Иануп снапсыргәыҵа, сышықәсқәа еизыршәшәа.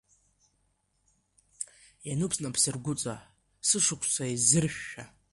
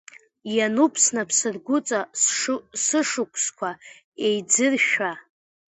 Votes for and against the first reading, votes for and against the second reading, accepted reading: 2, 1, 0, 2, first